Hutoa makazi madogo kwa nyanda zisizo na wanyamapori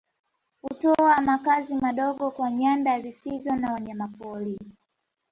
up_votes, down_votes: 2, 0